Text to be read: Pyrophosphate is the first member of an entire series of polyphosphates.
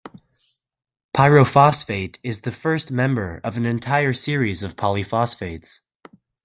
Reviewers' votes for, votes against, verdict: 2, 0, accepted